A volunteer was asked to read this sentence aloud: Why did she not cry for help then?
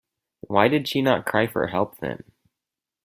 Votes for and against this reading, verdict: 4, 0, accepted